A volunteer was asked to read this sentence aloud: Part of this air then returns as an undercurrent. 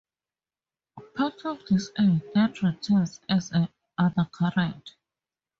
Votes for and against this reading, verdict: 0, 2, rejected